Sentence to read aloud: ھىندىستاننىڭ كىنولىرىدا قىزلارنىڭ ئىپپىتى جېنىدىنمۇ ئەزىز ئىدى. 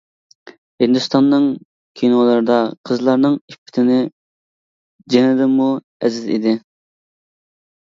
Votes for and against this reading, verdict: 0, 2, rejected